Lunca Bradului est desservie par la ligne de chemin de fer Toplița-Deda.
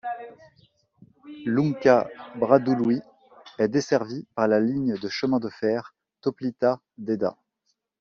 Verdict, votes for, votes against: accepted, 2, 0